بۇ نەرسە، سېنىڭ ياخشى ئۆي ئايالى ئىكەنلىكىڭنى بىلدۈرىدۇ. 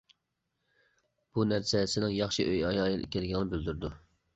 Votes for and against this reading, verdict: 0, 2, rejected